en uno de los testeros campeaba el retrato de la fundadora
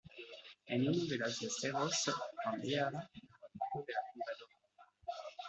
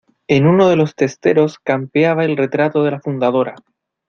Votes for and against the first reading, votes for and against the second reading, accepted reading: 0, 2, 2, 1, second